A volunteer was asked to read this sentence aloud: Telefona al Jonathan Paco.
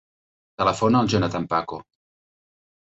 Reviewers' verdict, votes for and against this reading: accepted, 3, 0